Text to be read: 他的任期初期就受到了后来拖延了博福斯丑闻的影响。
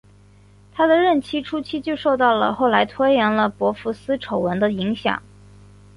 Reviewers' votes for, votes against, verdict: 2, 0, accepted